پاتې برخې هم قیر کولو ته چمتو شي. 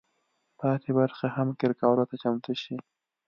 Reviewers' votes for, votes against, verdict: 2, 0, accepted